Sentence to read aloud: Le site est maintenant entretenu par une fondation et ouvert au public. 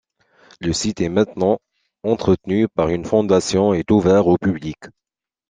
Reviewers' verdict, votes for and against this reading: rejected, 0, 2